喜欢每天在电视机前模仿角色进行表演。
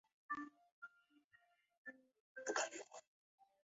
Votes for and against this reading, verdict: 0, 4, rejected